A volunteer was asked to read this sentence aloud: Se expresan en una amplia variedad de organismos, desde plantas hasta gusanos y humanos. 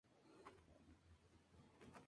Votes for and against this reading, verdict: 0, 2, rejected